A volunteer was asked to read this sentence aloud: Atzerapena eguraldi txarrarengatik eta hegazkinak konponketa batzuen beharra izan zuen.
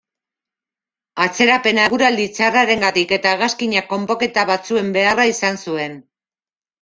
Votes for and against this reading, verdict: 0, 2, rejected